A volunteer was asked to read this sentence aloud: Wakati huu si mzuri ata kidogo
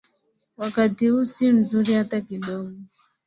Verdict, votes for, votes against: accepted, 14, 0